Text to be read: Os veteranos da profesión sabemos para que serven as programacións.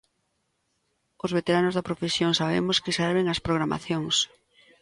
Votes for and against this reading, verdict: 0, 2, rejected